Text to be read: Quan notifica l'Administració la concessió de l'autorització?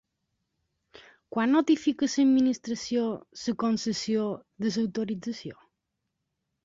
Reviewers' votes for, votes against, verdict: 1, 3, rejected